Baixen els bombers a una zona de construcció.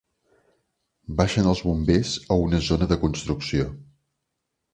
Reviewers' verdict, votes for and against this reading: accepted, 3, 0